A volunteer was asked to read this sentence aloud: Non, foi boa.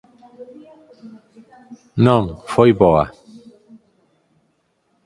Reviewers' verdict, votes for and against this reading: rejected, 2, 4